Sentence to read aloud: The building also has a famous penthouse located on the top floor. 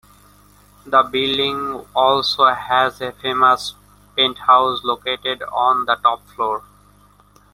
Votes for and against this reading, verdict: 2, 0, accepted